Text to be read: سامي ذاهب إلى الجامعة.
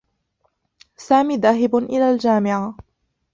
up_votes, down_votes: 2, 1